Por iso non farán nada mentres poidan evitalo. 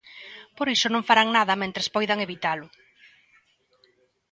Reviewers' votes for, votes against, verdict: 3, 0, accepted